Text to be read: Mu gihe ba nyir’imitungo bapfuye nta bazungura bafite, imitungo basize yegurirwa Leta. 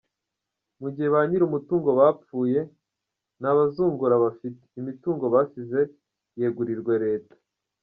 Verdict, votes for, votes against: accepted, 2, 0